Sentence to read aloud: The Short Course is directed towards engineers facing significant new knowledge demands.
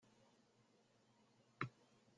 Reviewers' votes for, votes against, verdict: 0, 2, rejected